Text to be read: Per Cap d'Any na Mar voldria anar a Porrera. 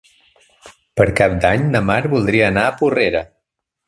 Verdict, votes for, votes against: accepted, 4, 0